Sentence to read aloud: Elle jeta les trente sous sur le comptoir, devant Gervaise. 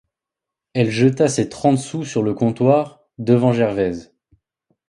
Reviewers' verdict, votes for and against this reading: rejected, 0, 2